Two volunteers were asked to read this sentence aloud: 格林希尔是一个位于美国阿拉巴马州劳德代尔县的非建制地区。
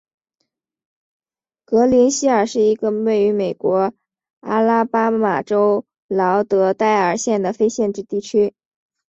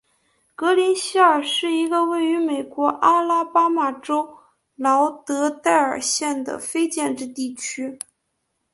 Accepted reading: first